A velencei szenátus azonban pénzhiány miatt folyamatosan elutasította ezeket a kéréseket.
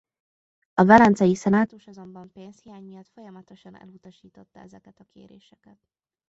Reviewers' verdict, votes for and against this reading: rejected, 1, 2